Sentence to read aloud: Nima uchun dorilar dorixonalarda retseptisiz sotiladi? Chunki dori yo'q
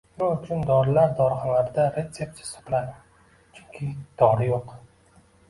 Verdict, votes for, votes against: accepted, 2, 1